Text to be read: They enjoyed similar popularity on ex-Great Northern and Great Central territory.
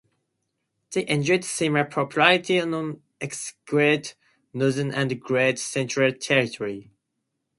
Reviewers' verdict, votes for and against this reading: rejected, 0, 2